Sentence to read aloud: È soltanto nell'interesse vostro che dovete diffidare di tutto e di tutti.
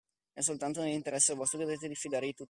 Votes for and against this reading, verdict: 0, 2, rejected